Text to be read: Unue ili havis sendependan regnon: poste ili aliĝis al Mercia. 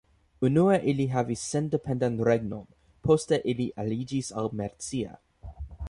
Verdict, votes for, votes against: accepted, 2, 1